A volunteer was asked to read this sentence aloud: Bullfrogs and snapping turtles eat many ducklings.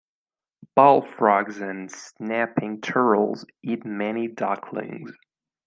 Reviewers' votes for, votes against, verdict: 3, 1, accepted